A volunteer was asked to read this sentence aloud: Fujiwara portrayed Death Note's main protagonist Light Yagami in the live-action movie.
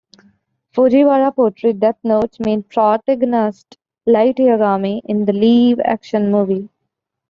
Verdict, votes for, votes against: rejected, 0, 2